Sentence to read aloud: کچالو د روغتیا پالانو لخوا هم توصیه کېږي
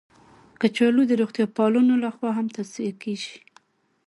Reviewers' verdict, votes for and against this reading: accepted, 2, 0